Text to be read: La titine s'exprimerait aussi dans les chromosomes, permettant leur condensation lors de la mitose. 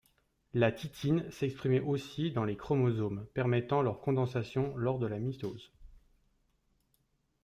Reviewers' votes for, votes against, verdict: 1, 2, rejected